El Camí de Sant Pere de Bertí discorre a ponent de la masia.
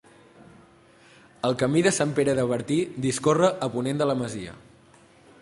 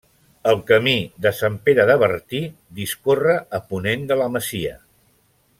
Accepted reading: first